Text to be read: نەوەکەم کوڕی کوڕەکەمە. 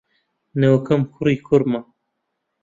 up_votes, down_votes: 1, 2